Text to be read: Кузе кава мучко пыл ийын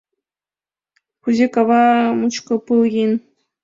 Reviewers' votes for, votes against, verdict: 0, 3, rejected